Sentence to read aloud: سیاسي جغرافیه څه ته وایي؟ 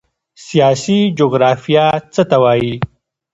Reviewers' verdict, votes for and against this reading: accepted, 2, 0